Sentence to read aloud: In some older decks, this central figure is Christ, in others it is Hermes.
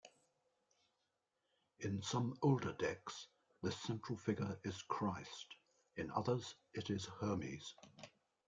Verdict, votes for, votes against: accepted, 2, 1